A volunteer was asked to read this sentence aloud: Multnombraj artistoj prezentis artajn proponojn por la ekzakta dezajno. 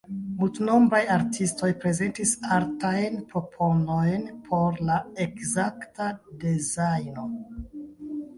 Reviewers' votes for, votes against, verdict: 1, 2, rejected